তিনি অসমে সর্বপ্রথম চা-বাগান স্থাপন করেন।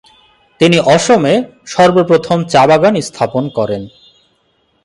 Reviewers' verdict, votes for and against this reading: accepted, 2, 0